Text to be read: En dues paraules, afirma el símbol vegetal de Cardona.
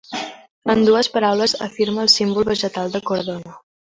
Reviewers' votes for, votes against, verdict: 0, 2, rejected